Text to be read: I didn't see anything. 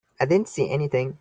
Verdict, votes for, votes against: accepted, 2, 1